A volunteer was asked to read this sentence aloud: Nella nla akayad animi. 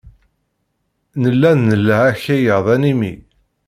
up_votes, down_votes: 1, 2